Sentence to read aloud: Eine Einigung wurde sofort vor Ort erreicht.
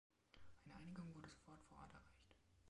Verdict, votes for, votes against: rejected, 2, 3